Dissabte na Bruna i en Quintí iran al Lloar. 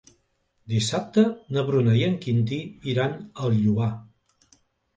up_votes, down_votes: 2, 0